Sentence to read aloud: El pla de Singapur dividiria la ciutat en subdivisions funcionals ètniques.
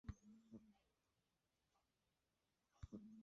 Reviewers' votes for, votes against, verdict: 0, 3, rejected